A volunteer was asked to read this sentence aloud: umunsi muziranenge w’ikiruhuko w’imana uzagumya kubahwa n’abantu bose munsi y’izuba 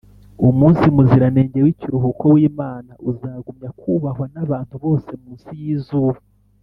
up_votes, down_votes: 2, 0